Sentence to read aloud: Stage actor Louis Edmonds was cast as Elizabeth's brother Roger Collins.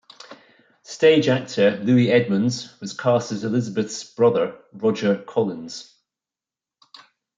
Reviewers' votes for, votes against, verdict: 2, 0, accepted